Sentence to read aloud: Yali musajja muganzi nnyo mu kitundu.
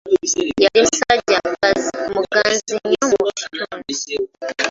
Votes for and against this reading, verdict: 0, 2, rejected